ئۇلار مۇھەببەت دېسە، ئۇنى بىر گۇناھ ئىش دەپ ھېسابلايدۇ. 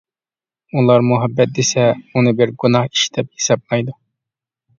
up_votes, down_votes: 3, 0